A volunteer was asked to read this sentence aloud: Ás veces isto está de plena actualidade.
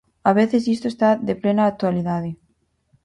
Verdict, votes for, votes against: rejected, 0, 4